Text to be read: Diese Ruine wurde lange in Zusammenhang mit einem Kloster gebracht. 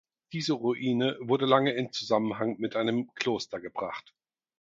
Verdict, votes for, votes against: accepted, 4, 0